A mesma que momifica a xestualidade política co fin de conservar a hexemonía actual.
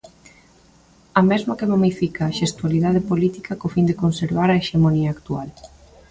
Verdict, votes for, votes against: accepted, 2, 0